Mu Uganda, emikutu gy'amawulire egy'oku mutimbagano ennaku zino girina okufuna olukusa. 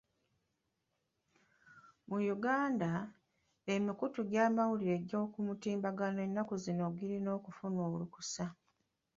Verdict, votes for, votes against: rejected, 0, 2